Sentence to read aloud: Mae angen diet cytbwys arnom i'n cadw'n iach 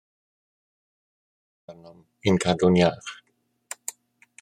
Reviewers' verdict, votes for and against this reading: rejected, 0, 2